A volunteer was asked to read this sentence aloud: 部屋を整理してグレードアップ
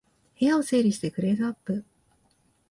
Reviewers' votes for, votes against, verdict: 1, 2, rejected